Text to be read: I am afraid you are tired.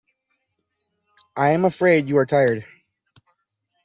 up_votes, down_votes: 2, 1